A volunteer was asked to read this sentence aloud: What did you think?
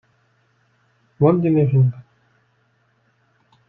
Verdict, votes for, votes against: rejected, 1, 2